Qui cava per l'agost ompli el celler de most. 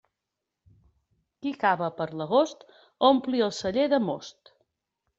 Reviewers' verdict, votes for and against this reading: accepted, 2, 0